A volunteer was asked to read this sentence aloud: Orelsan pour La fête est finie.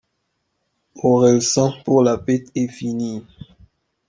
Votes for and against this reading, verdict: 1, 2, rejected